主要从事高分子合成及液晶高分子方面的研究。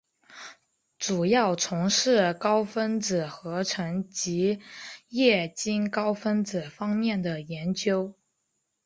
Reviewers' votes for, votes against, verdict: 3, 0, accepted